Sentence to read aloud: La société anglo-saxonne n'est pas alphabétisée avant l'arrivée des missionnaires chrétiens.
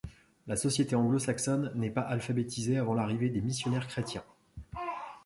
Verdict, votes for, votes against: accepted, 2, 0